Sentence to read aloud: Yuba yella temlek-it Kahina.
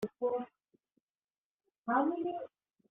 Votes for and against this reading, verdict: 0, 2, rejected